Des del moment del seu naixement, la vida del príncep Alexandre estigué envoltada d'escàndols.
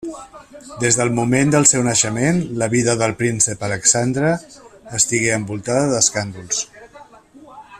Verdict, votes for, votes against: rejected, 1, 2